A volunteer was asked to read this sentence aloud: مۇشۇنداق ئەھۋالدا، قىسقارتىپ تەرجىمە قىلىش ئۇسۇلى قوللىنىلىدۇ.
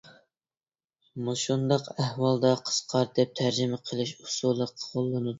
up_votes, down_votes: 0, 2